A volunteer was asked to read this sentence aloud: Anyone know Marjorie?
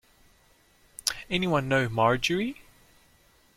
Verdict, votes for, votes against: accepted, 2, 0